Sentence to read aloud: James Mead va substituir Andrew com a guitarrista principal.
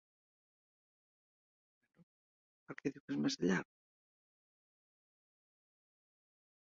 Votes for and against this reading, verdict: 0, 2, rejected